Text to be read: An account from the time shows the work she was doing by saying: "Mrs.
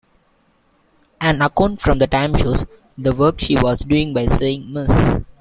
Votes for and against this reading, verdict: 0, 2, rejected